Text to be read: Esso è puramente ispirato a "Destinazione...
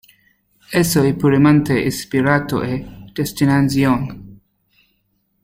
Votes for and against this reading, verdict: 0, 2, rejected